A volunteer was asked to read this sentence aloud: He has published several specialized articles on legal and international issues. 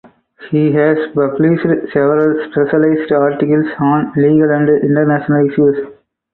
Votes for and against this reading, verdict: 4, 2, accepted